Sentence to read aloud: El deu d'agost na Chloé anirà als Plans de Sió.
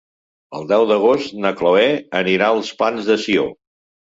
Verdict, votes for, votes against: accepted, 2, 0